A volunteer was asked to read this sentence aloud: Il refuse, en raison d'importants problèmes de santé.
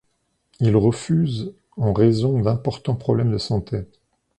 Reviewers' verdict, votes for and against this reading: accepted, 2, 0